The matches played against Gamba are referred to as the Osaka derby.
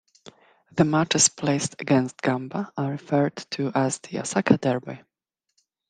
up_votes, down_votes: 1, 2